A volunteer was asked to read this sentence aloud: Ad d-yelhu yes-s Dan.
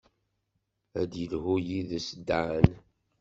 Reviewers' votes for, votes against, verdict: 1, 2, rejected